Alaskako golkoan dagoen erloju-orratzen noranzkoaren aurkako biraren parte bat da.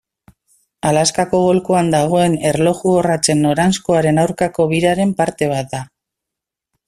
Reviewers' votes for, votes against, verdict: 2, 0, accepted